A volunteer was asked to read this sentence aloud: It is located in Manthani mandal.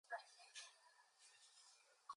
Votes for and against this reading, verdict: 2, 0, accepted